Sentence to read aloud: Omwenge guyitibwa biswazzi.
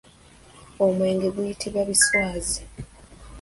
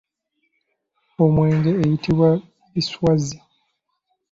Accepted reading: second